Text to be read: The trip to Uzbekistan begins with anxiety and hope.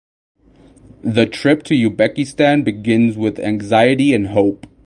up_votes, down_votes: 4, 8